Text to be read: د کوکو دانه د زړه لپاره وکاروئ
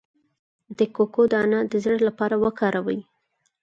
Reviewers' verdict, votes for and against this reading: accepted, 4, 0